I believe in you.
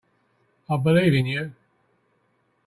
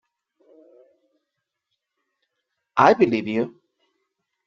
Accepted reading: first